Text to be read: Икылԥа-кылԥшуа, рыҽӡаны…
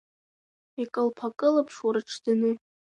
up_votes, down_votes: 2, 0